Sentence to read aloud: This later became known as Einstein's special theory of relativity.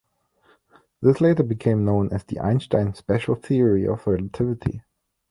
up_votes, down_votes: 2, 0